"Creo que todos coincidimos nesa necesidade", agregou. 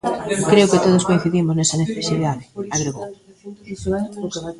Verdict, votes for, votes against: rejected, 0, 2